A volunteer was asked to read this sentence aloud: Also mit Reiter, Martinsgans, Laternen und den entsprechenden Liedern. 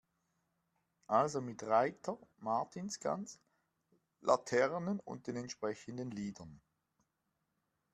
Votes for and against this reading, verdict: 2, 0, accepted